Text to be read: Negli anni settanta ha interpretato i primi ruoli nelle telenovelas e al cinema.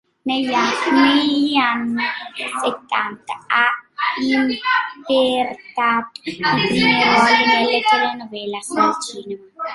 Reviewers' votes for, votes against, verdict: 0, 2, rejected